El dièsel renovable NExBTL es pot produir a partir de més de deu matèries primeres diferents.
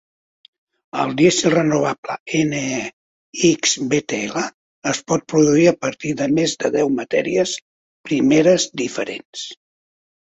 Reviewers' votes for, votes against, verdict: 2, 0, accepted